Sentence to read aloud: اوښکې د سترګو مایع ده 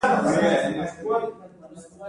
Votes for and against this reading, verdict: 2, 0, accepted